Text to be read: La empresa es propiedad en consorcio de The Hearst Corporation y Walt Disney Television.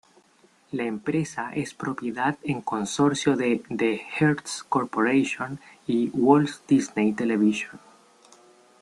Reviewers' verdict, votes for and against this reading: rejected, 1, 2